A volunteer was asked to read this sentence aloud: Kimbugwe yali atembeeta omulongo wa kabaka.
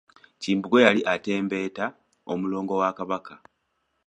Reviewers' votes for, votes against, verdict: 2, 0, accepted